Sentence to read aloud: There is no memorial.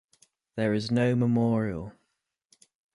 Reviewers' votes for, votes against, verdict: 2, 0, accepted